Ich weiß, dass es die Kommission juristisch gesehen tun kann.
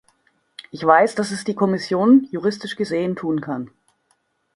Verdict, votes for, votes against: accepted, 2, 0